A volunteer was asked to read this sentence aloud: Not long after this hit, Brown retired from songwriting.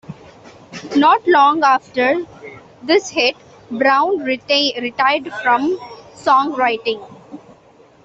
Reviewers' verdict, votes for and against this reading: rejected, 1, 2